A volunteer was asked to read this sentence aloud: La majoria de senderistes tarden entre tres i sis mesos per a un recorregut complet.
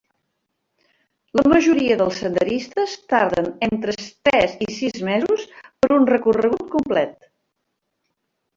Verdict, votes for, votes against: rejected, 0, 2